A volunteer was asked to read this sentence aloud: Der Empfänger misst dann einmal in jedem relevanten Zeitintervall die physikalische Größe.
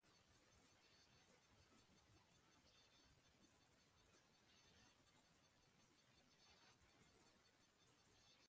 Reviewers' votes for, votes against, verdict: 0, 2, rejected